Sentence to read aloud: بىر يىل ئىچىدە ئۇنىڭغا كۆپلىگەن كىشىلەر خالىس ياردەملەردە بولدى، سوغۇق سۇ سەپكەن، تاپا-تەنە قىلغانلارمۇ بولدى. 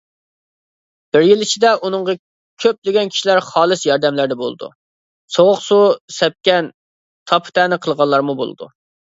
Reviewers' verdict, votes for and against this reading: rejected, 0, 2